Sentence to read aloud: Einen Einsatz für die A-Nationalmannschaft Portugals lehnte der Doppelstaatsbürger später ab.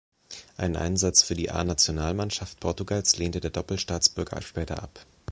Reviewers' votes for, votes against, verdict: 1, 2, rejected